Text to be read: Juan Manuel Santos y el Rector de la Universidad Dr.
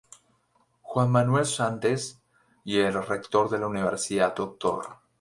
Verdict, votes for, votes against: rejected, 2, 2